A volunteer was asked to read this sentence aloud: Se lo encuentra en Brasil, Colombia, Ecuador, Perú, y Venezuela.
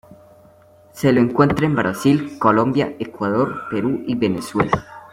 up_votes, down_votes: 2, 0